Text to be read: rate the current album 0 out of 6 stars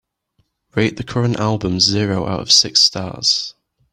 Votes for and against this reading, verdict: 0, 2, rejected